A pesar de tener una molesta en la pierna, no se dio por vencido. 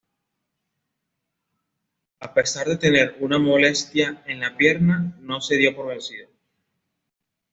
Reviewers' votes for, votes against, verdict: 2, 0, accepted